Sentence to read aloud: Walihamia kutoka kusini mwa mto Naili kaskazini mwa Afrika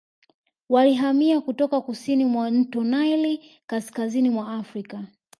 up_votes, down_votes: 2, 0